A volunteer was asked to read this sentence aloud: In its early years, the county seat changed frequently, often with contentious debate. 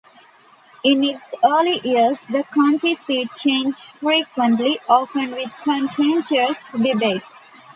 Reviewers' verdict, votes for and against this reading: rejected, 1, 2